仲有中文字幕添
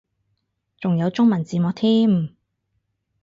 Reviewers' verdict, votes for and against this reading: accepted, 4, 0